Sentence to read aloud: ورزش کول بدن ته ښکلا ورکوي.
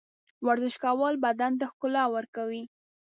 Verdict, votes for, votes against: accepted, 2, 0